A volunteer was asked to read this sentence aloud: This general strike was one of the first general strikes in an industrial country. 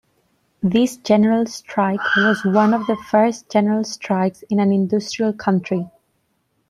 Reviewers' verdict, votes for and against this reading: rejected, 0, 2